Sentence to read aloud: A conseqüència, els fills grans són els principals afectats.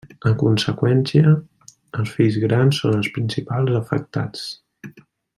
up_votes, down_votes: 2, 0